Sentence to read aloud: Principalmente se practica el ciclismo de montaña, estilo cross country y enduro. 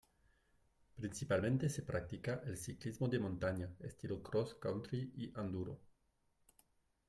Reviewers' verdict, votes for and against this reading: accepted, 2, 1